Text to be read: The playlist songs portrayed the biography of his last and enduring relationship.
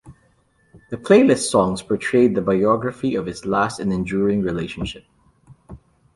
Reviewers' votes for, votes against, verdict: 2, 0, accepted